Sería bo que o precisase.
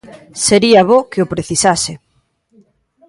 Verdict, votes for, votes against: accepted, 2, 0